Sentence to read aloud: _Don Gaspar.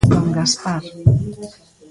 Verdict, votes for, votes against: accepted, 2, 1